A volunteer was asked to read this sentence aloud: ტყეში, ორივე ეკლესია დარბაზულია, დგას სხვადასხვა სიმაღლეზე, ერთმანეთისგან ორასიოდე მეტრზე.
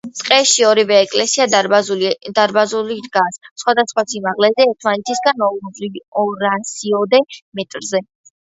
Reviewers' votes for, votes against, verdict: 2, 1, accepted